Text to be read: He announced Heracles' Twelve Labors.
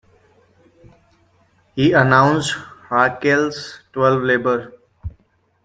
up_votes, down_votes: 0, 2